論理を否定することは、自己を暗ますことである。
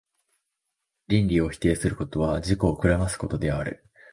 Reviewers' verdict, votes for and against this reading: accepted, 2, 1